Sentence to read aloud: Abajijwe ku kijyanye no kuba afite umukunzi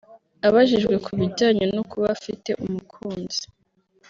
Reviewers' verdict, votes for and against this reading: accepted, 2, 1